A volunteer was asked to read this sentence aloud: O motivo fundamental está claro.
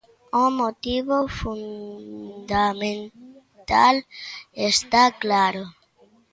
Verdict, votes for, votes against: rejected, 1, 2